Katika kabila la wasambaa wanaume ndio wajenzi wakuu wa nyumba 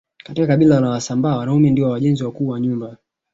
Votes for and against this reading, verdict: 3, 0, accepted